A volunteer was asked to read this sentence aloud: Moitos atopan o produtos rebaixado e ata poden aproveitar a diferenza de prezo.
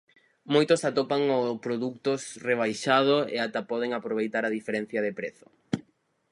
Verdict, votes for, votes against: rejected, 2, 2